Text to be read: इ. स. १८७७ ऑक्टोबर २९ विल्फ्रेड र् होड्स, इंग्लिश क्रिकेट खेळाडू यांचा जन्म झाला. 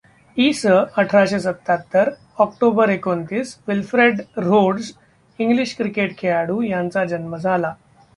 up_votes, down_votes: 0, 2